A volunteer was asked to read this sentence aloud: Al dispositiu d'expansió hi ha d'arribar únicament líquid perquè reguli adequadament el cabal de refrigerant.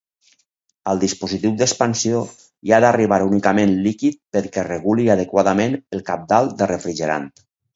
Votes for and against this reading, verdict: 2, 4, rejected